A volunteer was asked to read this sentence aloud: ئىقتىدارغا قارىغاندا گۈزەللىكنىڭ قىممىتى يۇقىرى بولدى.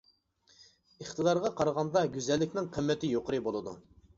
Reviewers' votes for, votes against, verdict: 1, 2, rejected